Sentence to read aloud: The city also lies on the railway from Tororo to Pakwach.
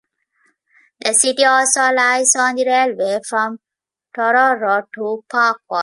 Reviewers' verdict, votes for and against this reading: rejected, 1, 2